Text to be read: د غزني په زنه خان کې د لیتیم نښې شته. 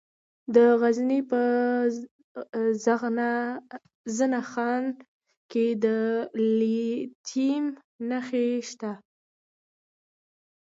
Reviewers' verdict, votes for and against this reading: accepted, 2, 1